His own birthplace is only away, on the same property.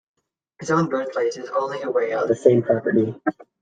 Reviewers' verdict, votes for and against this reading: rejected, 1, 2